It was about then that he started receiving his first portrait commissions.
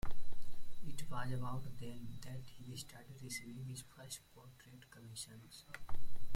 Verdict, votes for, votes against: rejected, 1, 2